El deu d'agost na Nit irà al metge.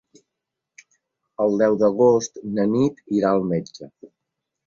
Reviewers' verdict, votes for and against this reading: accepted, 4, 0